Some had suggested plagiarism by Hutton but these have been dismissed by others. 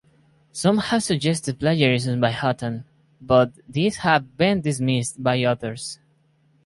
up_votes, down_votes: 4, 0